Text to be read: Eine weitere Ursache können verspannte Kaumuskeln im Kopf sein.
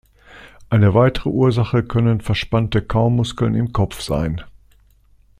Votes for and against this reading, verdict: 1, 2, rejected